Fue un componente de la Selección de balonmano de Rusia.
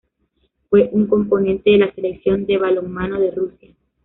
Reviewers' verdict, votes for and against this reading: rejected, 1, 2